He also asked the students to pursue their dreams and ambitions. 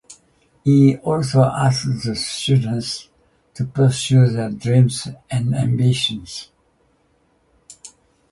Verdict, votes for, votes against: accepted, 2, 0